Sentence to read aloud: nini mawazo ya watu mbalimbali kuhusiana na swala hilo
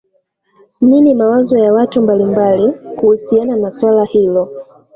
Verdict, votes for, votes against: accepted, 2, 0